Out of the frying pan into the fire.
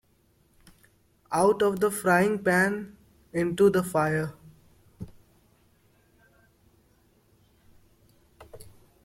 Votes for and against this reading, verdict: 2, 0, accepted